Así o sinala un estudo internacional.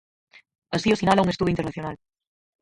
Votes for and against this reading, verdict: 0, 4, rejected